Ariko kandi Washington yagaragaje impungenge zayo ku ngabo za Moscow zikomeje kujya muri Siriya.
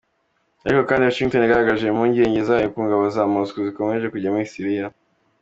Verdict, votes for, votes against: accepted, 3, 0